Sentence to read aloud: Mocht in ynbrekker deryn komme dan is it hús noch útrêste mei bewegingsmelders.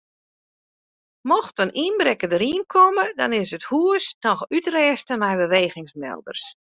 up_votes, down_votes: 2, 1